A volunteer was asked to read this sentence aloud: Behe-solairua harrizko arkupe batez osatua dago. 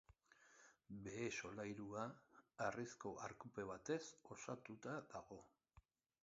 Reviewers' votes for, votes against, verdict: 2, 3, rejected